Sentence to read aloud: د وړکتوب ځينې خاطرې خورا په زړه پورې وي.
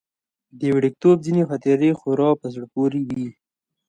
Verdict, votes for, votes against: accepted, 2, 1